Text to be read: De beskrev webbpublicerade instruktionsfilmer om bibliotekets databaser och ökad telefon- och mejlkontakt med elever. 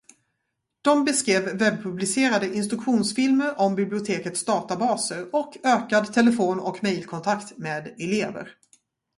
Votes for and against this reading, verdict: 0, 2, rejected